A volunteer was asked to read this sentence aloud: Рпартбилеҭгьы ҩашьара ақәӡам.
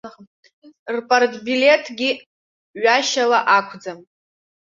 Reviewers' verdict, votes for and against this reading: accepted, 2, 1